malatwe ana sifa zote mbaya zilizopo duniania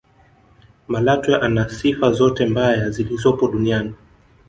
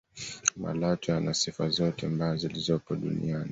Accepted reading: second